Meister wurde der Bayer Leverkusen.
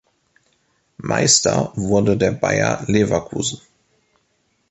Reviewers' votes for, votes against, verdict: 2, 0, accepted